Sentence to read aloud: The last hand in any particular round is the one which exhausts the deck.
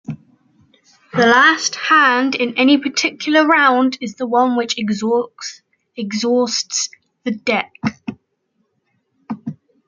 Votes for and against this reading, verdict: 2, 0, accepted